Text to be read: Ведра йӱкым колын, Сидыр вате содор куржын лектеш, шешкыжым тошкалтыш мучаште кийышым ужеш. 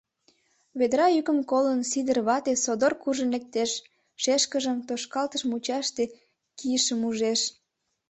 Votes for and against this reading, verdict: 2, 0, accepted